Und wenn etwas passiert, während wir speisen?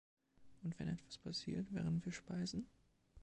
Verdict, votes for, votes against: accepted, 2, 0